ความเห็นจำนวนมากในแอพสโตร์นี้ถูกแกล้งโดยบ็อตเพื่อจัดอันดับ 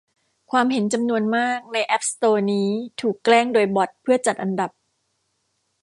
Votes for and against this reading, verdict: 2, 1, accepted